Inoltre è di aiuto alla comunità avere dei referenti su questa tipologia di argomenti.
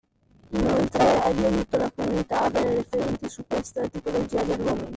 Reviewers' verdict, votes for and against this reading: rejected, 0, 2